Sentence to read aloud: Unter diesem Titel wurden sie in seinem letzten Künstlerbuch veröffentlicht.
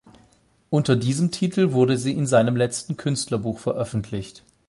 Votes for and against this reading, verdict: 4, 8, rejected